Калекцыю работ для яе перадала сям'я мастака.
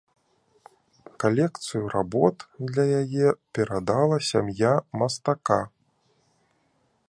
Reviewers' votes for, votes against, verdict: 2, 0, accepted